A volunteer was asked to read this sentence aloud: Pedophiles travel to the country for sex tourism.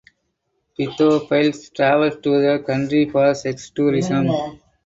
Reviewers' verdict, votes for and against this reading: accepted, 2, 0